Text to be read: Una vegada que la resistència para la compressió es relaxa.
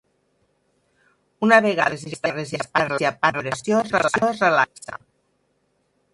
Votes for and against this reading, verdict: 0, 4, rejected